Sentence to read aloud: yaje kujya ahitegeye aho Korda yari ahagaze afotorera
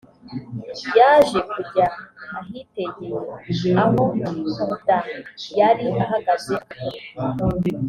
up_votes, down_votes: 3, 5